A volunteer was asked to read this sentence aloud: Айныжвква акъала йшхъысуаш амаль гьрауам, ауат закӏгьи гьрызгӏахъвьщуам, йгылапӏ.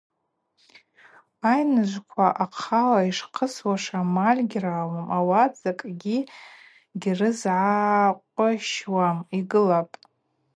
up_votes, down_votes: 0, 4